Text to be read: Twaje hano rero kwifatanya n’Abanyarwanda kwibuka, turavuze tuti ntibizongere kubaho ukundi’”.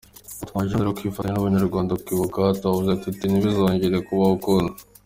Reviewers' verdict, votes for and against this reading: accepted, 2, 1